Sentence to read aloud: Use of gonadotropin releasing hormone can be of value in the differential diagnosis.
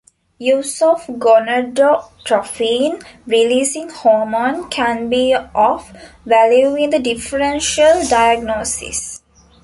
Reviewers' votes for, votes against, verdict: 2, 0, accepted